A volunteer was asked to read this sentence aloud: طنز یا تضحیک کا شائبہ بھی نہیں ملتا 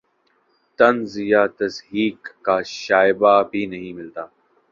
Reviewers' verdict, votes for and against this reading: accepted, 4, 1